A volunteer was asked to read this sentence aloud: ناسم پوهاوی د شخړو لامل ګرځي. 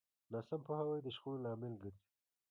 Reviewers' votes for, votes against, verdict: 2, 1, accepted